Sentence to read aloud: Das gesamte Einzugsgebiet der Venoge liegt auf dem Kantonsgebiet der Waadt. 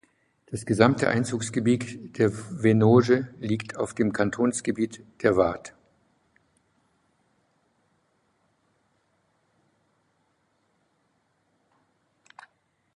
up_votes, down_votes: 1, 2